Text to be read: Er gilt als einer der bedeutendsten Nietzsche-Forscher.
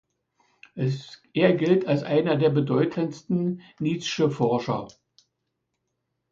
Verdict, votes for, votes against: rejected, 0, 2